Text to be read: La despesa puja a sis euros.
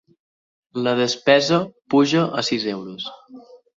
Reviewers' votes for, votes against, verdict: 2, 0, accepted